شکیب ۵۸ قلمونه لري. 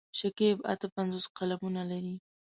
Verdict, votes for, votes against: rejected, 0, 2